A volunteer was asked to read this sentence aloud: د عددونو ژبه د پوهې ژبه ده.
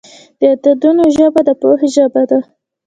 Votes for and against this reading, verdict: 2, 0, accepted